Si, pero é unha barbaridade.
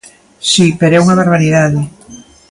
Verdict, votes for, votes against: accepted, 2, 0